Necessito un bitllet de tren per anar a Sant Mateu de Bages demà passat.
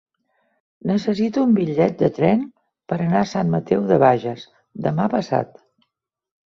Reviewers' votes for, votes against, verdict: 3, 0, accepted